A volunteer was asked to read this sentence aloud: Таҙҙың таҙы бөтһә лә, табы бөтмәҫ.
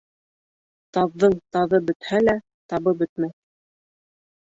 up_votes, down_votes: 1, 2